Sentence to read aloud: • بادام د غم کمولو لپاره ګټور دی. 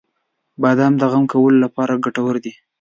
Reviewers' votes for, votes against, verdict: 0, 2, rejected